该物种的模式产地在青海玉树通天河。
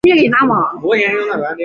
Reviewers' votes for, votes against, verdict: 1, 2, rejected